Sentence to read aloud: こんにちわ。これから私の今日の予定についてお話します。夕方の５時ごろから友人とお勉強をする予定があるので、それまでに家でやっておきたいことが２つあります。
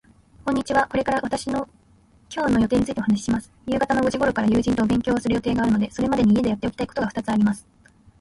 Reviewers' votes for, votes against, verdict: 0, 2, rejected